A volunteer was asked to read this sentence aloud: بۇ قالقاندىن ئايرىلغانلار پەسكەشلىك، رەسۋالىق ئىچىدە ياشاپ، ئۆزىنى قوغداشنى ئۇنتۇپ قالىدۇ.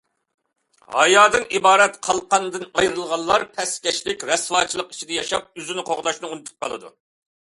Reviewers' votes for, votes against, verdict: 0, 2, rejected